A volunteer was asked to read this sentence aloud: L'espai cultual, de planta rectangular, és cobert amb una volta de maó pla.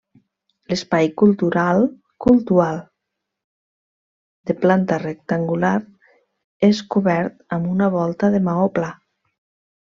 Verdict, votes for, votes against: rejected, 0, 2